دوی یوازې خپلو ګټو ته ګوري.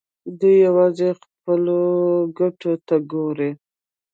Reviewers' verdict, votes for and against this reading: rejected, 1, 2